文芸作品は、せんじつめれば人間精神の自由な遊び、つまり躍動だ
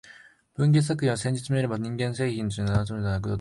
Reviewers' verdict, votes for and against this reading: rejected, 0, 3